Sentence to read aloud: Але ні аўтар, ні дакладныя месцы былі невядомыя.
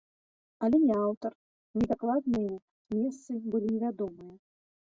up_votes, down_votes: 2, 1